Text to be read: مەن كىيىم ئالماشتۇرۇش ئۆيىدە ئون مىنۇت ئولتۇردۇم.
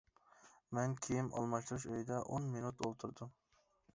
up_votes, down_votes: 2, 0